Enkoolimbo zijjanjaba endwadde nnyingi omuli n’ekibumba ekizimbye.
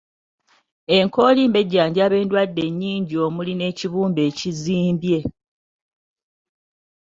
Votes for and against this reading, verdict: 1, 2, rejected